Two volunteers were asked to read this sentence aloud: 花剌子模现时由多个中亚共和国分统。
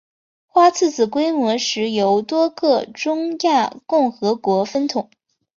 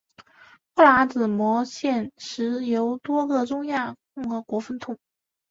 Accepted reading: first